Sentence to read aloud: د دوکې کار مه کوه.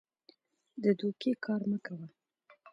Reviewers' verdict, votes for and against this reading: accepted, 2, 0